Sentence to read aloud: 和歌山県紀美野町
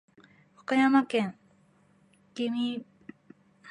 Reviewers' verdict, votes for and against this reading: rejected, 0, 2